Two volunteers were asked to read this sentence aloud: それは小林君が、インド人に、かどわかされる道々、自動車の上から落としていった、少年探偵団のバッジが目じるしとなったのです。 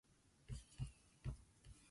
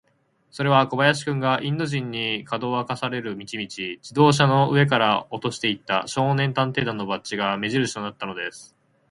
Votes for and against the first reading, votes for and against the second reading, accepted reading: 1, 2, 4, 0, second